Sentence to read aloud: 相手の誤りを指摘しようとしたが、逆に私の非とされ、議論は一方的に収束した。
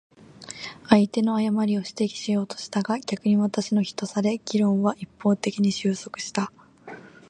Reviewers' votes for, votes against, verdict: 0, 2, rejected